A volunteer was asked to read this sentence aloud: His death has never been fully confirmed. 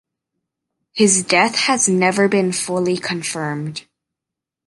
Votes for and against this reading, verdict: 1, 2, rejected